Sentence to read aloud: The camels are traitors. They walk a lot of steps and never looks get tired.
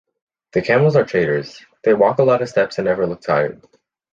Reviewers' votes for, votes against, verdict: 2, 3, rejected